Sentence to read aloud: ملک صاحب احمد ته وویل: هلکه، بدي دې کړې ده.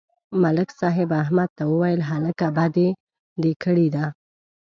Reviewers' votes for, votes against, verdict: 1, 2, rejected